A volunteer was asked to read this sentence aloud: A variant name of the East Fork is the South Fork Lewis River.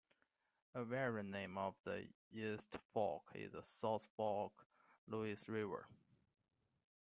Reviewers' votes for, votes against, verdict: 2, 1, accepted